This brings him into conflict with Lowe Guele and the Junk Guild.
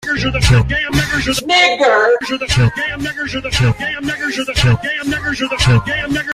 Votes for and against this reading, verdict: 0, 2, rejected